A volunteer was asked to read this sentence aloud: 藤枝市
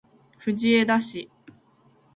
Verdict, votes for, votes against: accepted, 2, 0